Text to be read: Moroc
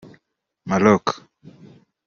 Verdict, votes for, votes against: accepted, 2, 0